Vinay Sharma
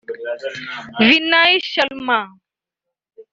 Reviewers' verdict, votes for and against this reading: rejected, 0, 2